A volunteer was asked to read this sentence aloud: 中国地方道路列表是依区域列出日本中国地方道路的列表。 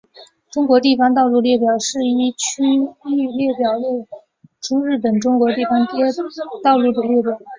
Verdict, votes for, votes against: rejected, 2, 3